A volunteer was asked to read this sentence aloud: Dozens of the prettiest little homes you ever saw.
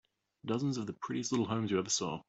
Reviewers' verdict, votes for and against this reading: accepted, 3, 0